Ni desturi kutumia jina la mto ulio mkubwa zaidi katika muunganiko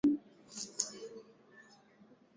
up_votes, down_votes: 0, 2